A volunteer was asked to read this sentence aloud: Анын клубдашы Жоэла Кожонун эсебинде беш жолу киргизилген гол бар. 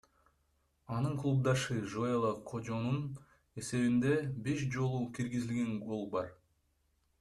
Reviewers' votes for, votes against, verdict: 1, 2, rejected